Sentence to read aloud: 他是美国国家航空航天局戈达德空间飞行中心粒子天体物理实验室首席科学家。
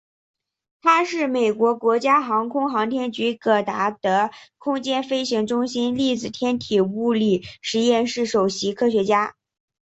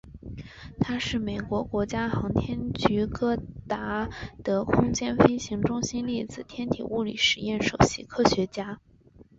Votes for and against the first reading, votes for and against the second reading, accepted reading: 2, 0, 1, 2, first